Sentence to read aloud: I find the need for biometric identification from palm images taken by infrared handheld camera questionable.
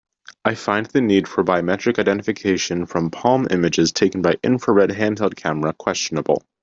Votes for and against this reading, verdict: 2, 0, accepted